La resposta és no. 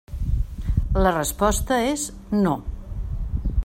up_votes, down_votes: 3, 0